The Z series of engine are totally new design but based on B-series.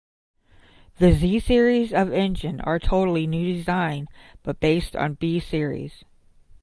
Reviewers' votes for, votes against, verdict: 0, 5, rejected